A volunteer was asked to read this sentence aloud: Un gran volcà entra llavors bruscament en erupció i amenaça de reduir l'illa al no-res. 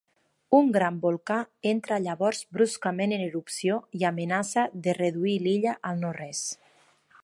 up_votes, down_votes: 4, 0